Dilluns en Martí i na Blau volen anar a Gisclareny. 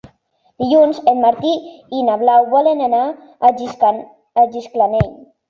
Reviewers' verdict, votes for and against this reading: rejected, 0, 2